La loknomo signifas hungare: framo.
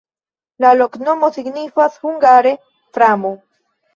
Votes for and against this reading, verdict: 2, 0, accepted